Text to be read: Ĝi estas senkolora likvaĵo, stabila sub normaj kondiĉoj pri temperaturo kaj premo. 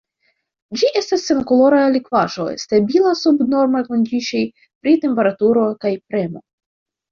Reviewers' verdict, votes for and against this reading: rejected, 1, 2